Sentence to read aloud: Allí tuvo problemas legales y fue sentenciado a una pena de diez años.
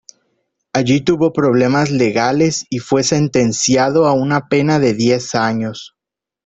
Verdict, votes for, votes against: accepted, 2, 1